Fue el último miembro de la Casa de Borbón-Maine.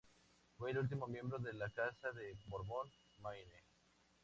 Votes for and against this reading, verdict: 2, 0, accepted